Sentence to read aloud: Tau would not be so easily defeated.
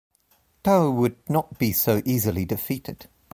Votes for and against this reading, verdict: 2, 0, accepted